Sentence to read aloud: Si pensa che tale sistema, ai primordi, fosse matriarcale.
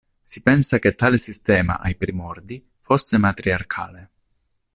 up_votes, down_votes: 2, 0